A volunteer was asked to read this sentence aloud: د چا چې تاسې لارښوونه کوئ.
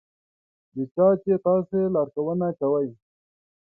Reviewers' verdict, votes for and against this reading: accepted, 5, 1